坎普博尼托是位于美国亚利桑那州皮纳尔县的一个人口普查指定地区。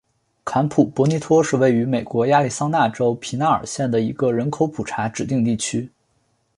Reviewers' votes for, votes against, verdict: 3, 0, accepted